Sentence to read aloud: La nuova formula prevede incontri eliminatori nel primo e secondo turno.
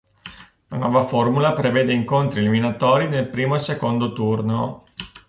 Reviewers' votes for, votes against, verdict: 2, 0, accepted